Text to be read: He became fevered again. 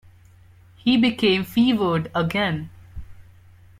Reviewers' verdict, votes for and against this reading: accepted, 2, 0